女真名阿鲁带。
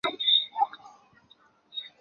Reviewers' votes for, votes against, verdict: 0, 2, rejected